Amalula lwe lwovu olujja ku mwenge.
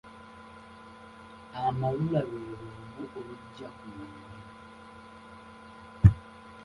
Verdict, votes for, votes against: rejected, 1, 2